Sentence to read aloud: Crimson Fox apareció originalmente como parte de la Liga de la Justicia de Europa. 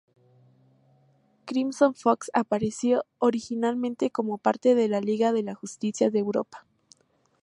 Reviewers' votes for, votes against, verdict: 2, 0, accepted